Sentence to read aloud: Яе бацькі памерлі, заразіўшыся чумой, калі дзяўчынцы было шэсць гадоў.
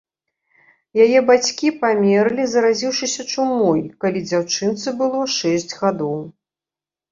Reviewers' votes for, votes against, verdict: 2, 0, accepted